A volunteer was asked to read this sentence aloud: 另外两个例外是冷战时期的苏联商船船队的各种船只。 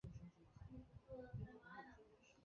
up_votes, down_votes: 0, 2